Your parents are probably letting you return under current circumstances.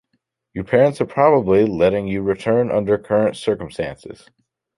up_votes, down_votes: 2, 0